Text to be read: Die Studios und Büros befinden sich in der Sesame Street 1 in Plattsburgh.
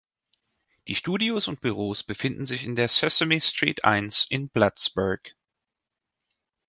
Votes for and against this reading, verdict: 0, 2, rejected